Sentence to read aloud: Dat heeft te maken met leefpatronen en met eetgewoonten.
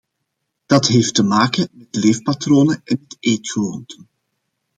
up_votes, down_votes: 2, 1